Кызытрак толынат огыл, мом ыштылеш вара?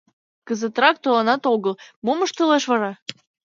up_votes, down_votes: 2, 0